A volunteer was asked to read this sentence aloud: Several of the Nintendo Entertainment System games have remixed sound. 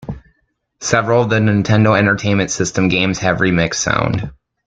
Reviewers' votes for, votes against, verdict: 2, 0, accepted